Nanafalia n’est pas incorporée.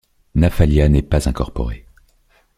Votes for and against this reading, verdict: 1, 2, rejected